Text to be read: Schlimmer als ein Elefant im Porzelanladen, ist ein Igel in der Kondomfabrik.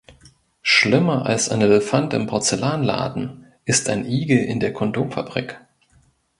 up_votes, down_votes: 2, 0